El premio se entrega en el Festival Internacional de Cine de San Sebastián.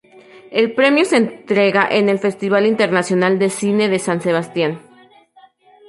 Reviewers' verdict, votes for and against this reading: accepted, 2, 0